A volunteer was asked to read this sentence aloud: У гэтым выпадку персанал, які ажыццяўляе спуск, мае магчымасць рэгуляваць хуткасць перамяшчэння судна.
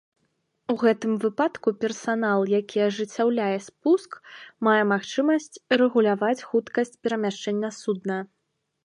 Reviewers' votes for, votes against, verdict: 1, 2, rejected